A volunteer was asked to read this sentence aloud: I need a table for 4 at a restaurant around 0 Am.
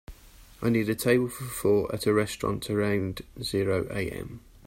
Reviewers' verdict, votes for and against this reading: rejected, 0, 2